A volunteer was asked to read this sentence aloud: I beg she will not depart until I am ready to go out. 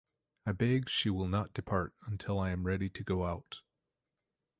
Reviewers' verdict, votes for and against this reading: accepted, 2, 0